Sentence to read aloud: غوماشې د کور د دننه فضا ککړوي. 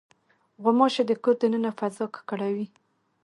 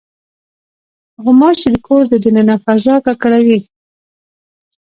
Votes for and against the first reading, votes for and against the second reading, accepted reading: 2, 0, 0, 2, first